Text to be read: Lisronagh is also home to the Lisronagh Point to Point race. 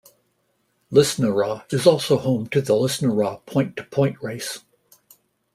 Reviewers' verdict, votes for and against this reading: rejected, 1, 2